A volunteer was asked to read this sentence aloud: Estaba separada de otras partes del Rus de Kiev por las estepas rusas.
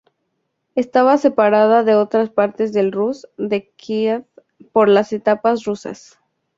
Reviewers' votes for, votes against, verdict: 0, 4, rejected